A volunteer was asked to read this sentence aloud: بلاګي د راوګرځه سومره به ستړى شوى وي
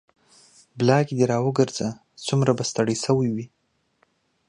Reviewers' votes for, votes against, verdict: 2, 0, accepted